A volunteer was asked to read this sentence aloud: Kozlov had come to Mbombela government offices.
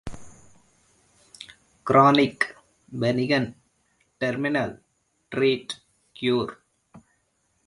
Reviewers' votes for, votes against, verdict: 0, 2, rejected